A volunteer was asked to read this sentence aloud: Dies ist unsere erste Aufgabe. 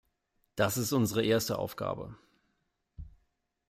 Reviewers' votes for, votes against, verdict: 0, 2, rejected